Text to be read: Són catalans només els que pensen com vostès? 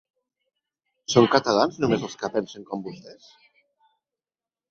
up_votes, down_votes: 3, 1